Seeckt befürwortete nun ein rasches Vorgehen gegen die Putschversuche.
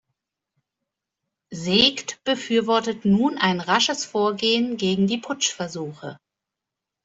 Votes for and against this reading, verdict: 2, 0, accepted